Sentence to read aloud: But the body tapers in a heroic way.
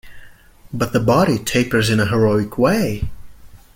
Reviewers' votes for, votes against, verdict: 2, 0, accepted